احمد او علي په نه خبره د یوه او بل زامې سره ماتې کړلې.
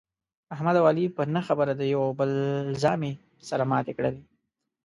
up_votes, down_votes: 2, 0